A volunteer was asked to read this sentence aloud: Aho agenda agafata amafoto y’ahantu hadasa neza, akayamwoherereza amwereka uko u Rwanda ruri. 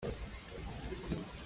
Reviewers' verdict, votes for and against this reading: rejected, 0, 2